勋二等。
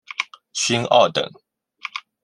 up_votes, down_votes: 2, 0